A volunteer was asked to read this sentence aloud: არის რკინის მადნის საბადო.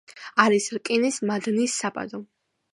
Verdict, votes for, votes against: accepted, 2, 0